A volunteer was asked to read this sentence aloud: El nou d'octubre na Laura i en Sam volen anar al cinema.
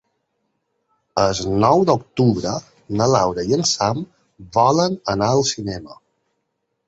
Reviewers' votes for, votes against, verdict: 2, 3, rejected